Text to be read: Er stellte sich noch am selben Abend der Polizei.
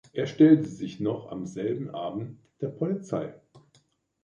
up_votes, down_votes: 2, 0